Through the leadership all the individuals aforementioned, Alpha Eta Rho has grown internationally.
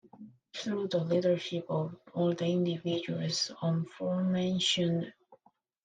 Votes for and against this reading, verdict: 0, 2, rejected